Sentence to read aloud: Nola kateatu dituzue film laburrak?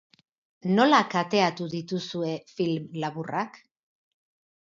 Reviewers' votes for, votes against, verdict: 4, 0, accepted